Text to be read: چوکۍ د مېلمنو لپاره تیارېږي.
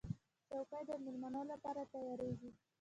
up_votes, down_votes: 1, 2